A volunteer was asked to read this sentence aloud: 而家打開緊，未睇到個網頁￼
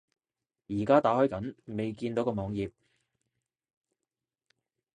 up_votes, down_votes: 2, 0